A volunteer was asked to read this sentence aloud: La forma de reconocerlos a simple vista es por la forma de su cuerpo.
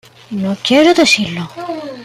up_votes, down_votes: 0, 2